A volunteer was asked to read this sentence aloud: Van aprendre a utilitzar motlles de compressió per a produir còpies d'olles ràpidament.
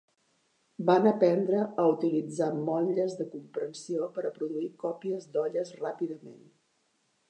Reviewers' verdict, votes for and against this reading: rejected, 1, 2